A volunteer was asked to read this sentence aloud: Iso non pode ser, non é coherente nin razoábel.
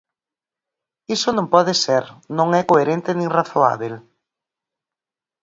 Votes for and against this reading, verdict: 4, 0, accepted